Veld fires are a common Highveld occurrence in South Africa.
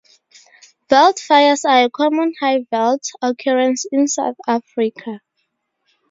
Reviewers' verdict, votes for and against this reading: accepted, 2, 0